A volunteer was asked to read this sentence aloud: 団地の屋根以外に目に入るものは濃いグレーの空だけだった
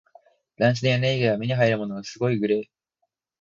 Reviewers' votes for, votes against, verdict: 3, 6, rejected